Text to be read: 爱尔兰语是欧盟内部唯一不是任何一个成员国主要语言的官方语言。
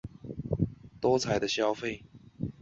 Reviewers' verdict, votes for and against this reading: rejected, 2, 4